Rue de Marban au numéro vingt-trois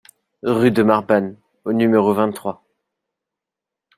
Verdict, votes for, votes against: rejected, 0, 2